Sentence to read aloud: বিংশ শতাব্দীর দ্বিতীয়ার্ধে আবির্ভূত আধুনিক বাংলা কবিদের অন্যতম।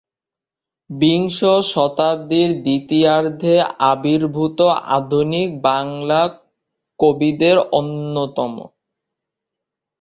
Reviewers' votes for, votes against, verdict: 1, 2, rejected